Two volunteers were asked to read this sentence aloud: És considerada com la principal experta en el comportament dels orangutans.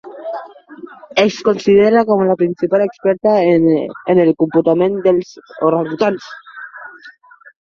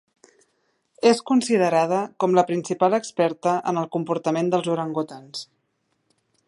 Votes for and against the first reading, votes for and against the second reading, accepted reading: 0, 2, 2, 0, second